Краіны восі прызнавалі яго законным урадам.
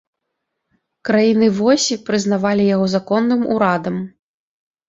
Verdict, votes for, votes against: accepted, 2, 0